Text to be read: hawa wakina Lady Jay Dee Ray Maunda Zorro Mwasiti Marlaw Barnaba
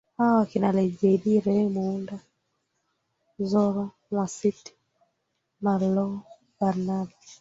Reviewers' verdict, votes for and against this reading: rejected, 0, 2